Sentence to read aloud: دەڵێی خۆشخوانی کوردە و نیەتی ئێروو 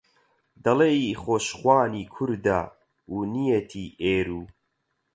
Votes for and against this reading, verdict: 0, 4, rejected